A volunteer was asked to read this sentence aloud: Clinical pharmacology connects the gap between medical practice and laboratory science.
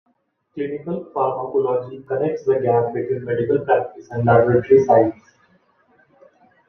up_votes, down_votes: 1, 2